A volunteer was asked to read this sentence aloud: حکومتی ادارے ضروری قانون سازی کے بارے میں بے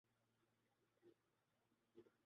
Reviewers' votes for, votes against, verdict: 0, 2, rejected